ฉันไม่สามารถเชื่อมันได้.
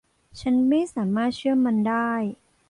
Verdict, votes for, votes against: accepted, 2, 0